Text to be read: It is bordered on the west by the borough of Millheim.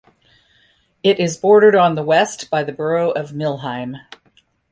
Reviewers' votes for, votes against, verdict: 2, 0, accepted